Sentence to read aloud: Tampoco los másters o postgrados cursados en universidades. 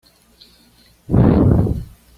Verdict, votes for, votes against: rejected, 1, 2